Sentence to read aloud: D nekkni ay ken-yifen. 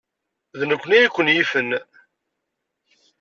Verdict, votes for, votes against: accepted, 2, 0